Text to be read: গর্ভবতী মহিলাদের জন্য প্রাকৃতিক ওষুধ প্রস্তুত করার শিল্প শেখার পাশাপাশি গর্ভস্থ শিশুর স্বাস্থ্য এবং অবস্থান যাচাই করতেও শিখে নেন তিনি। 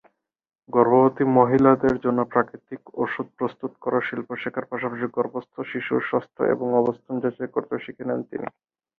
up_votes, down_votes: 4, 2